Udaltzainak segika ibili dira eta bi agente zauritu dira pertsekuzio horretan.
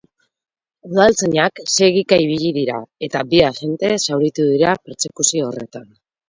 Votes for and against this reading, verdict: 4, 0, accepted